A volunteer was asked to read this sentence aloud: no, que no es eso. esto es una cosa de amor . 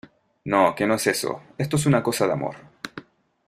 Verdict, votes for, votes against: accepted, 2, 0